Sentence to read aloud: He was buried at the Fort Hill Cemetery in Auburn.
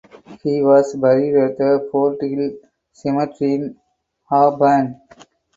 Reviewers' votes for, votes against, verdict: 2, 4, rejected